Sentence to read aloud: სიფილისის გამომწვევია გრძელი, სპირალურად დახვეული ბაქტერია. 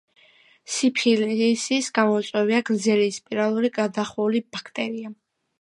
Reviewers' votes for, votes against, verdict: 1, 2, rejected